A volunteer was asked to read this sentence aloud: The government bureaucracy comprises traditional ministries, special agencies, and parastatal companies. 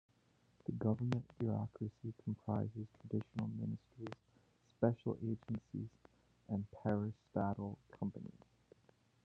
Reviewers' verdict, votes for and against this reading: rejected, 0, 2